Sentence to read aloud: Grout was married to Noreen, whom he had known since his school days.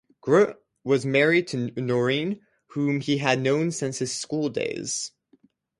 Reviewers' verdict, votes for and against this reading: accepted, 2, 0